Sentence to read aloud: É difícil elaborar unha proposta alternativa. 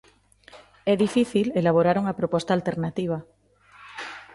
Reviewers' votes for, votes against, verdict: 2, 0, accepted